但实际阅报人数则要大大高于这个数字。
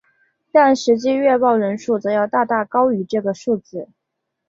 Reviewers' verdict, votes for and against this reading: accepted, 2, 0